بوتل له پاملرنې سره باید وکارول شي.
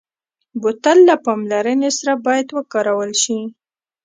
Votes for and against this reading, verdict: 0, 2, rejected